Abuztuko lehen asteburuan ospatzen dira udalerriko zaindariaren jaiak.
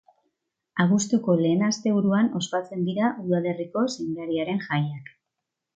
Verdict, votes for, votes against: rejected, 1, 2